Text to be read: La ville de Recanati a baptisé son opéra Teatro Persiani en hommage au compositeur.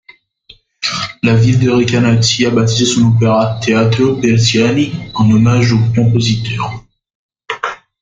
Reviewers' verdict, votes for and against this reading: accepted, 2, 0